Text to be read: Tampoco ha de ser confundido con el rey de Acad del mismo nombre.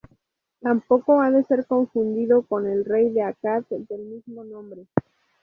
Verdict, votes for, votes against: rejected, 0, 2